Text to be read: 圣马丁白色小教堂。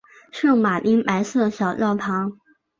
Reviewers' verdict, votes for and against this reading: accepted, 6, 0